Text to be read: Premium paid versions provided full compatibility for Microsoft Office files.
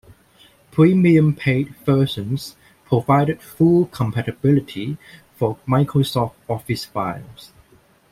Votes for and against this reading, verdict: 2, 0, accepted